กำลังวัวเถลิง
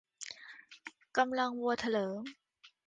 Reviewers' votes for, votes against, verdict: 2, 0, accepted